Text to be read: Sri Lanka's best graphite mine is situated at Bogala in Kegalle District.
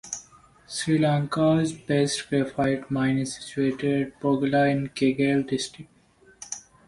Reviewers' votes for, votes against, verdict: 1, 2, rejected